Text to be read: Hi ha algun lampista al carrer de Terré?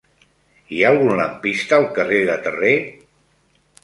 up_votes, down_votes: 3, 0